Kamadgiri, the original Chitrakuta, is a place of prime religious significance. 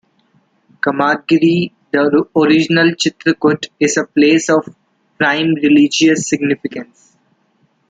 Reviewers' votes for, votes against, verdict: 1, 2, rejected